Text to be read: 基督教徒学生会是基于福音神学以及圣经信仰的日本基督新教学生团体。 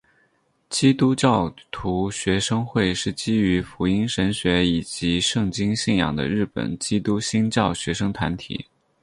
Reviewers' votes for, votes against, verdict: 6, 0, accepted